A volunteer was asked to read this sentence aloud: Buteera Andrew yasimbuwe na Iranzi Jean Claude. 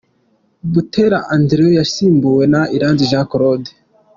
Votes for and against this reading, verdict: 2, 0, accepted